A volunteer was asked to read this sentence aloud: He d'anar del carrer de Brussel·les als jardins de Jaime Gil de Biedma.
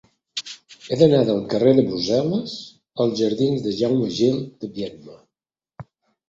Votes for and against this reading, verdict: 2, 0, accepted